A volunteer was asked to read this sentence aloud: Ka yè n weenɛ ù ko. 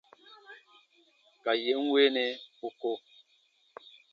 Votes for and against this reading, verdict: 2, 0, accepted